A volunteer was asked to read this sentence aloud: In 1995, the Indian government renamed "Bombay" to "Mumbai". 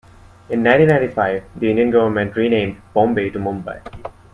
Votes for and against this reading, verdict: 0, 2, rejected